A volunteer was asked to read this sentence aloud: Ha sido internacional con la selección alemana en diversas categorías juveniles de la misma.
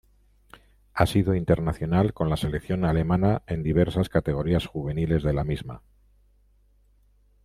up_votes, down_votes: 2, 0